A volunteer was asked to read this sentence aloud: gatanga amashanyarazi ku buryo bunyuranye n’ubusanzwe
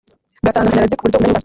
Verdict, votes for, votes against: rejected, 1, 2